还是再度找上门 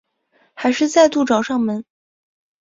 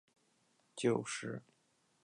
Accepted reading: first